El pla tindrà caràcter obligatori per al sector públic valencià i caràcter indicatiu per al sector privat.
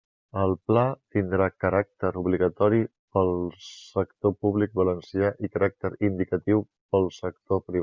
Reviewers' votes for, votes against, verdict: 0, 2, rejected